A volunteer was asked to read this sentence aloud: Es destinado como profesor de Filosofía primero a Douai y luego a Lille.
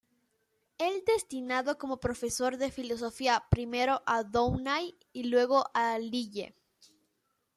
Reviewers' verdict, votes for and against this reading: rejected, 1, 2